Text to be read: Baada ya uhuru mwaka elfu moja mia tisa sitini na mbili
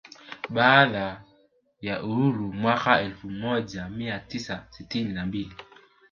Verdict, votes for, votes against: rejected, 1, 2